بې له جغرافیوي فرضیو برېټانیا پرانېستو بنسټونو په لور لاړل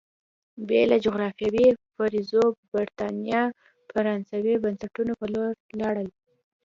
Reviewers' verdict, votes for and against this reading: rejected, 1, 2